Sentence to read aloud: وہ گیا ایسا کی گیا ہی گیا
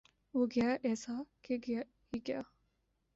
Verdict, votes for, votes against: rejected, 1, 2